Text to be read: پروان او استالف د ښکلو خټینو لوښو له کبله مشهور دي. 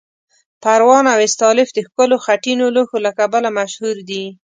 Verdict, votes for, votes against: accepted, 2, 1